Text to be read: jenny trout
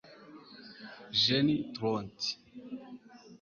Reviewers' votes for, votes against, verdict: 0, 2, rejected